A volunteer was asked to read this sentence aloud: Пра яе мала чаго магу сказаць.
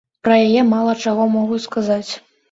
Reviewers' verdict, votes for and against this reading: rejected, 0, 2